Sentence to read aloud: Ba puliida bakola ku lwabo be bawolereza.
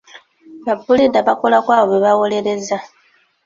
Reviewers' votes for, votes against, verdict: 0, 2, rejected